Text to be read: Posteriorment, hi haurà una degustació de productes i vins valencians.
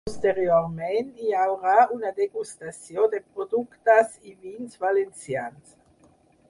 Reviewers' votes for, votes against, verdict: 6, 0, accepted